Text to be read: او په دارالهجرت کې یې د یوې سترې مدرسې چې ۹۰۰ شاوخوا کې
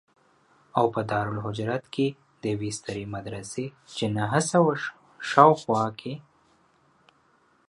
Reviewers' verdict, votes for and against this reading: rejected, 0, 2